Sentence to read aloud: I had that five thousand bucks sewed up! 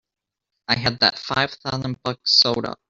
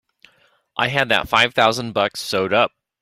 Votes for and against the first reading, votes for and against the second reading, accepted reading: 0, 2, 3, 0, second